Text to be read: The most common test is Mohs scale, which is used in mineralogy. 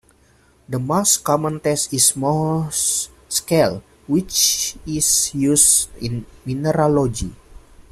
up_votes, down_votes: 0, 2